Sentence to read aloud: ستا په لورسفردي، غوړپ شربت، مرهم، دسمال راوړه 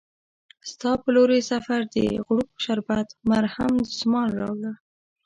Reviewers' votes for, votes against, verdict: 0, 2, rejected